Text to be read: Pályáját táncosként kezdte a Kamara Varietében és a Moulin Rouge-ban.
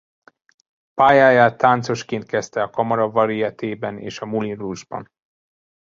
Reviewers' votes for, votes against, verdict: 1, 2, rejected